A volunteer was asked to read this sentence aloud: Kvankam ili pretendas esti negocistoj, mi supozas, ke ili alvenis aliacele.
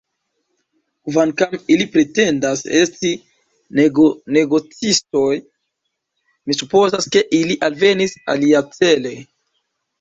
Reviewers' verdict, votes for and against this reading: rejected, 0, 2